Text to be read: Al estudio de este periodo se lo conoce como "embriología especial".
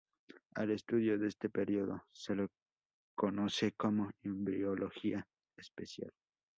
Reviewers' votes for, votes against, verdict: 0, 2, rejected